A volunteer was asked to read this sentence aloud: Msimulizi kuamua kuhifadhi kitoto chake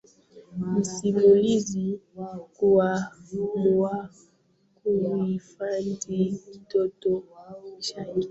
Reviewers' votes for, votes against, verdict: 0, 2, rejected